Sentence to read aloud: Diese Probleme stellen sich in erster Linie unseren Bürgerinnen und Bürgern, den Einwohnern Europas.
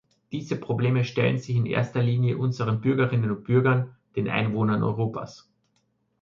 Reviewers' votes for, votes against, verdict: 2, 0, accepted